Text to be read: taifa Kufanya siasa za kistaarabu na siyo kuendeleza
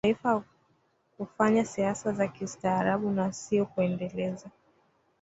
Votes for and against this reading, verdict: 0, 2, rejected